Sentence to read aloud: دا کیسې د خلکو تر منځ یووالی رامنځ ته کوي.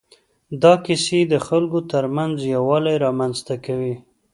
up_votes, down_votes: 2, 0